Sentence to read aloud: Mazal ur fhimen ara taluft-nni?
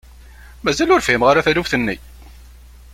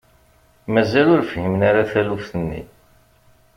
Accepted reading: second